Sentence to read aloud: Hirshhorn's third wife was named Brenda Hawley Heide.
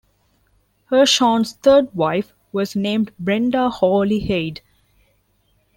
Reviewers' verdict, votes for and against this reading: accepted, 4, 1